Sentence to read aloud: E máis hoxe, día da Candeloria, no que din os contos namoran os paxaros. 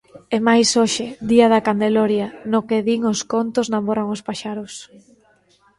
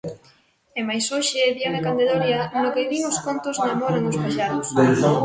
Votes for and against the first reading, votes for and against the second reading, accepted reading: 2, 0, 0, 2, first